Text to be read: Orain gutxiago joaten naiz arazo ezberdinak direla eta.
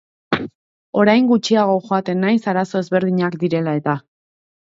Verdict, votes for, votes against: accepted, 2, 0